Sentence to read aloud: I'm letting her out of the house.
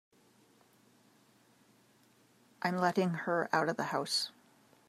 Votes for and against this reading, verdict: 2, 0, accepted